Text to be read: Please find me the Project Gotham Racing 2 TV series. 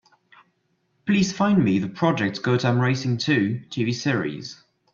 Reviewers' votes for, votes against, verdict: 0, 2, rejected